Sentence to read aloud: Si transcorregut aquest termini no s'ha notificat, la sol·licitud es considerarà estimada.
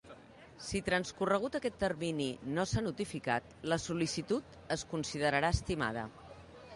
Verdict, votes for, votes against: accepted, 2, 0